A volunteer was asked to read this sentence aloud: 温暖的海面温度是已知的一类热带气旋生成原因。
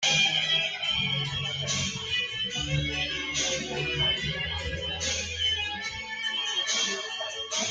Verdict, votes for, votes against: rejected, 0, 2